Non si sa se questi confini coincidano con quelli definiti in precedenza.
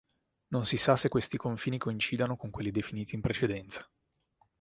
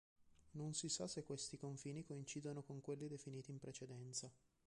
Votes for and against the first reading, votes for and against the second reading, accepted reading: 2, 0, 0, 2, first